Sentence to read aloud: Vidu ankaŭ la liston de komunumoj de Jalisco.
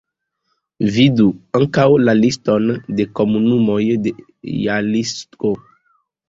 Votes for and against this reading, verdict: 1, 2, rejected